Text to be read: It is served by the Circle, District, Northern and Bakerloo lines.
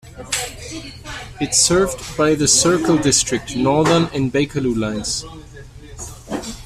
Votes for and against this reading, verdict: 1, 2, rejected